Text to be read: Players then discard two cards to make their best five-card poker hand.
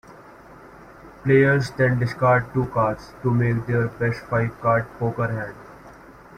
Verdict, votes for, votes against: rejected, 0, 2